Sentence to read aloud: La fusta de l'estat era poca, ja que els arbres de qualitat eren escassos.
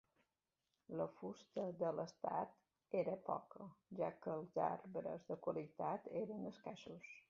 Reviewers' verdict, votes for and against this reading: accepted, 2, 1